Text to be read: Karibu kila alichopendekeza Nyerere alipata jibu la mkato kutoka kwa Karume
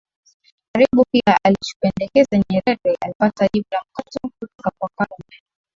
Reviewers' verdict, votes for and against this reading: rejected, 0, 2